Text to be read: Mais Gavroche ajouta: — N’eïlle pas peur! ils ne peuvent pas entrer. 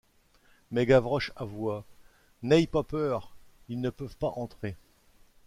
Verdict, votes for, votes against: rejected, 0, 2